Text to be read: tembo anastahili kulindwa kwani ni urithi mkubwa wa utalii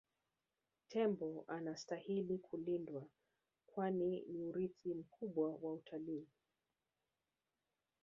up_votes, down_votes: 2, 0